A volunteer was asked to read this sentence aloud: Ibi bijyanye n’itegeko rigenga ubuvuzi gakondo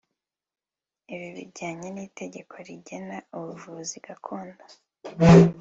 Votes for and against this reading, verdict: 2, 1, accepted